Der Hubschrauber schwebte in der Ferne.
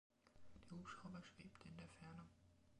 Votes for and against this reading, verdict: 2, 0, accepted